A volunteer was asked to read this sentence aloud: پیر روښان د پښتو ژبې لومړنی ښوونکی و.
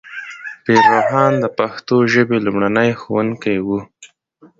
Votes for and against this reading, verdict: 2, 0, accepted